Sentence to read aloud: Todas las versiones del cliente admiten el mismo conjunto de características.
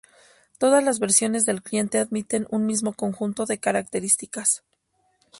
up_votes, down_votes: 0, 2